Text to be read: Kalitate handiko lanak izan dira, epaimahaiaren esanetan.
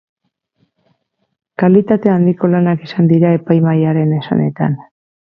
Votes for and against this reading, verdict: 0, 2, rejected